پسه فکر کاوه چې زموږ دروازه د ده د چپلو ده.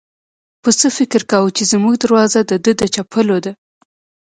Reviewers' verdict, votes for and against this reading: accepted, 2, 0